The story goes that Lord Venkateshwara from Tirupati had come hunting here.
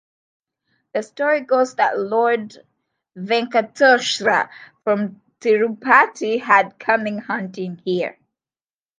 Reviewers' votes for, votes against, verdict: 1, 2, rejected